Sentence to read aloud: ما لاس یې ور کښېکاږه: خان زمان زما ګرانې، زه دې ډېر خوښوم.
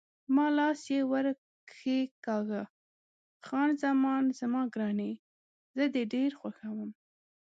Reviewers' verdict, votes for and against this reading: rejected, 0, 2